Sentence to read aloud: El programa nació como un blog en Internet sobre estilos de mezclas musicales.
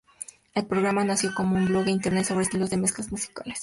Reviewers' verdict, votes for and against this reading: rejected, 2, 4